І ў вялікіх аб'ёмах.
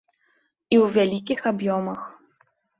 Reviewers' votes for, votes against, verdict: 2, 0, accepted